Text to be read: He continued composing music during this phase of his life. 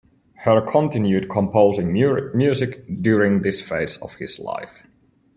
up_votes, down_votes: 0, 2